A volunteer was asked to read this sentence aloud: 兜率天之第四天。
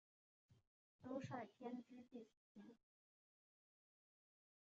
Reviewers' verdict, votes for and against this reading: rejected, 0, 3